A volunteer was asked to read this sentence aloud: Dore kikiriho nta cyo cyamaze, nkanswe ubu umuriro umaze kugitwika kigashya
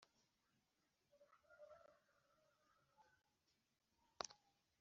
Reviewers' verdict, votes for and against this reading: rejected, 0, 2